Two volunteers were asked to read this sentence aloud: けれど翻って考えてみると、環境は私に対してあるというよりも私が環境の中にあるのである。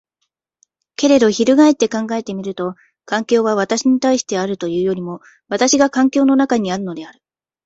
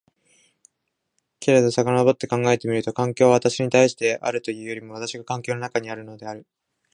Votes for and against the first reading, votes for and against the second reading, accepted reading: 2, 1, 2, 3, first